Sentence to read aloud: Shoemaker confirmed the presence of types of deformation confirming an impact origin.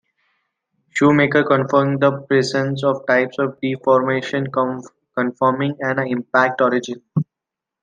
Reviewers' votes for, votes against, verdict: 0, 2, rejected